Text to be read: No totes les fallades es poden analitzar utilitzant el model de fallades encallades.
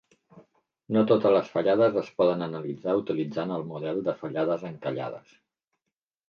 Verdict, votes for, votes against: accepted, 3, 0